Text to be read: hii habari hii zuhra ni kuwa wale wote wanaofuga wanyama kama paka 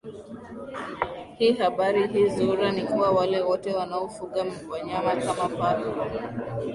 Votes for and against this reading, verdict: 0, 2, rejected